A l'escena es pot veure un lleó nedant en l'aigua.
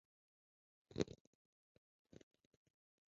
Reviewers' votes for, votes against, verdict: 1, 2, rejected